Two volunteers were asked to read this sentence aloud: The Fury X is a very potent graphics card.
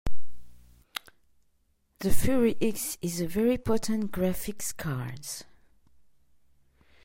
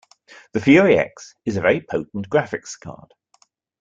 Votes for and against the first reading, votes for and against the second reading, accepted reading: 0, 2, 2, 0, second